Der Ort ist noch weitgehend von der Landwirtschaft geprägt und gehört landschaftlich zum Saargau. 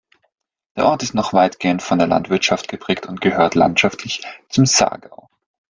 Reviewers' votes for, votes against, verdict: 3, 0, accepted